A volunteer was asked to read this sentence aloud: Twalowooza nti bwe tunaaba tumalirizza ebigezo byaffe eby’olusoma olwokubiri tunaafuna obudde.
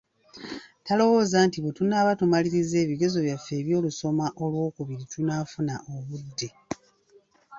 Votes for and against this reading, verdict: 1, 2, rejected